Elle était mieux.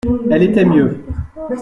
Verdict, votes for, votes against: rejected, 1, 2